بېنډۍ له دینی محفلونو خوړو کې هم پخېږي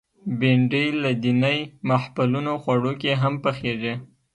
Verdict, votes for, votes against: accepted, 2, 0